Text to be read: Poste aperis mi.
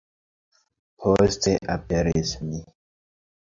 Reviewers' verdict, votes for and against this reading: accepted, 2, 1